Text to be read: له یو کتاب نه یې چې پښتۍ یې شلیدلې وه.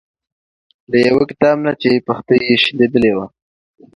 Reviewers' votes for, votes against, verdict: 2, 0, accepted